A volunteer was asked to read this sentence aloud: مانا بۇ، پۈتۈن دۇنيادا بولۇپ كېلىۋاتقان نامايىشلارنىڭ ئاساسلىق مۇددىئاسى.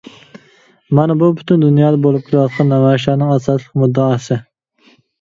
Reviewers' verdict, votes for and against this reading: rejected, 1, 2